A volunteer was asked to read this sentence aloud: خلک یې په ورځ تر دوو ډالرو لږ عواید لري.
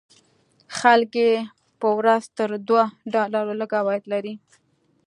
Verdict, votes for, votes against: accepted, 2, 0